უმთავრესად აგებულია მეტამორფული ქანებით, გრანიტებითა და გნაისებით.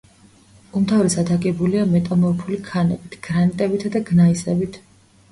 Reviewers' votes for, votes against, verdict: 1, 2, rejected